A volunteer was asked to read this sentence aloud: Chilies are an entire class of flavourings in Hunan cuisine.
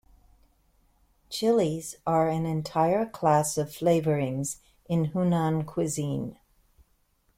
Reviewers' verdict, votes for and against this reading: accepted, 2, 0